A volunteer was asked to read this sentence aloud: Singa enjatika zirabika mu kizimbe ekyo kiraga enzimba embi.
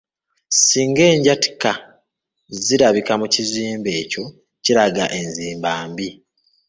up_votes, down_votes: 0, 2